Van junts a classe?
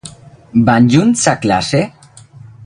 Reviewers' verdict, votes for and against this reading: accepted, 4, 0